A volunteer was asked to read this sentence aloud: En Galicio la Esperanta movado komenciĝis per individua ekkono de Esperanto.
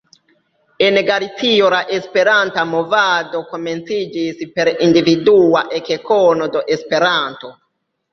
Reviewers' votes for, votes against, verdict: 0, 2, rejected